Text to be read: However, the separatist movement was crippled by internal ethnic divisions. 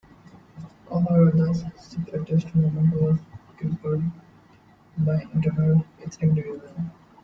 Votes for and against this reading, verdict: 0, 2, rejected